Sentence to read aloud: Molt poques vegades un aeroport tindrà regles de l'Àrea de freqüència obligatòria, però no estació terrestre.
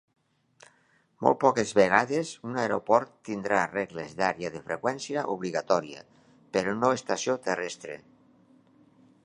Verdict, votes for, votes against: rejected, 2, 3